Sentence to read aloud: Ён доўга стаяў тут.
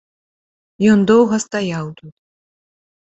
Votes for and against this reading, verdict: 2, 1, accepted